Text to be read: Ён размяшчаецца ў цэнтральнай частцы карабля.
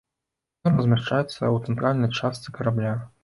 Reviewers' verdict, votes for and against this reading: rejected, 0, 2